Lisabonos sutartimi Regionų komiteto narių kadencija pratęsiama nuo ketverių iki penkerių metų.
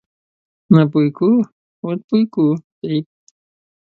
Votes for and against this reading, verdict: 0, 2, rejected